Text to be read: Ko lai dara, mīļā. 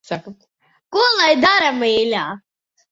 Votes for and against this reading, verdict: 0, 4, rejected